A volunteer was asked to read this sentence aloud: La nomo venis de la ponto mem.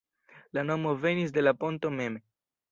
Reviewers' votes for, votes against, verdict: 2, 0, accepted